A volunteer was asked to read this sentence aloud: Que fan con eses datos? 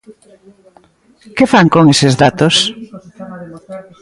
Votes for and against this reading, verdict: 1, 2, rejected